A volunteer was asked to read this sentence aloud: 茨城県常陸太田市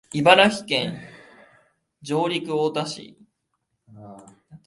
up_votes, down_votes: 2, 0